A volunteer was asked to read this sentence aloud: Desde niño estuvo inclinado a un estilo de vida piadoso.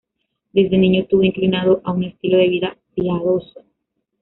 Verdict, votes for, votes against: rejected, 1, 2